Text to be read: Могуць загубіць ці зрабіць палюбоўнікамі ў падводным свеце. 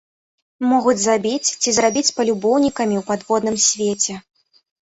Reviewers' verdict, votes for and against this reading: rejected, 0, 2